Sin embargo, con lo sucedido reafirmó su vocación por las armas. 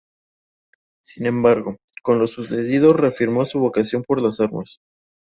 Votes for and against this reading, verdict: 4, 0, accepted